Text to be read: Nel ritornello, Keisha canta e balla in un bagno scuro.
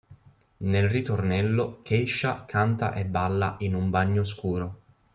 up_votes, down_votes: 2, 0